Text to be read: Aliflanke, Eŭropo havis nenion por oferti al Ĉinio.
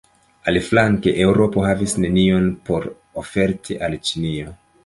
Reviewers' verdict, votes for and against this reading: accepted, 2, 1